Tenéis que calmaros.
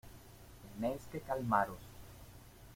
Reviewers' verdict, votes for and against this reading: accepted, 2, 0